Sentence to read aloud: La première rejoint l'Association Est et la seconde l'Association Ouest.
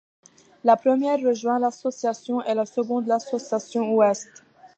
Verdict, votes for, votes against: accepted, 2, 0